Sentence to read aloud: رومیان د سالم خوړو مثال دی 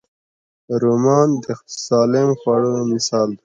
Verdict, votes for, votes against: rejected, 1, 2